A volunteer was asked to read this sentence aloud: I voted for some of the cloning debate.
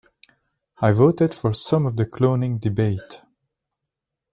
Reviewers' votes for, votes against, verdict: 2, 1, accepted